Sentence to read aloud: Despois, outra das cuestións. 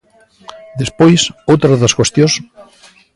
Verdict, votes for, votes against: accepted, 2, 0